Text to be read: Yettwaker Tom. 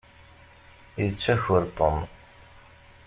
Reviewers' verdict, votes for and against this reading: rejected, 0, 2